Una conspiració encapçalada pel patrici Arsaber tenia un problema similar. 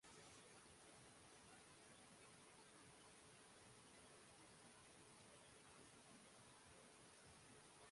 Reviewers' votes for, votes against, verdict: 0, 2, rejected